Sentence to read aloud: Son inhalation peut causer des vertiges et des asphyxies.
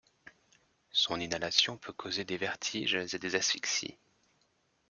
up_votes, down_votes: 2, 0